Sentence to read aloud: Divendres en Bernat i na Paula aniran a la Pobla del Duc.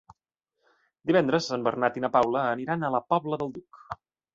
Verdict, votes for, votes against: accepted, 2, 0